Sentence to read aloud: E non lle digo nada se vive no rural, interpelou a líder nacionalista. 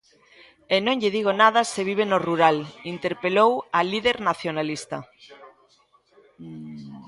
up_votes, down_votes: 2, 0